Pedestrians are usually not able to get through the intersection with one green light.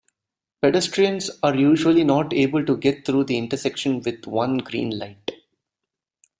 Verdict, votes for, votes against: accepted, 2, 0